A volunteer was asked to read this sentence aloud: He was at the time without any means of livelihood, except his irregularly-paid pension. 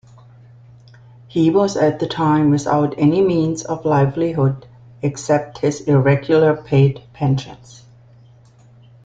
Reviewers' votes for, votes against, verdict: 1, 2, rejected